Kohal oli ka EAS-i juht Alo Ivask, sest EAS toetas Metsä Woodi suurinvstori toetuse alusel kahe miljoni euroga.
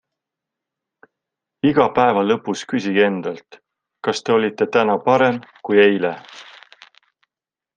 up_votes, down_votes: 0, 3